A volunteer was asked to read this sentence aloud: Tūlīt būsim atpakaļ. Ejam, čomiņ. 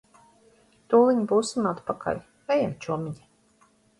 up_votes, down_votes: 1, 2